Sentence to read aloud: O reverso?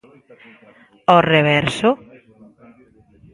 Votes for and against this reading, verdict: 0, 2, rejected